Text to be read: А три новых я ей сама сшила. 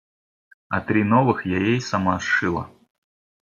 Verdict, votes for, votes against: accepted, 2, 0